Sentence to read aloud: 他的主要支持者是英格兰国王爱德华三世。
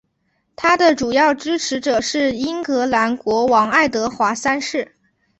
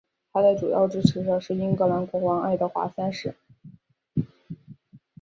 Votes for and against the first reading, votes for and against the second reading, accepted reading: 2, 0, 0, 2, first